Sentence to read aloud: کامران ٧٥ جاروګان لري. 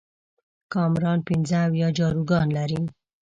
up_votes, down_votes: 0, 2